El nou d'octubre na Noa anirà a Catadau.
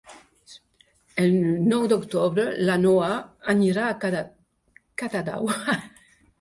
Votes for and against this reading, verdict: 0, 2, rejected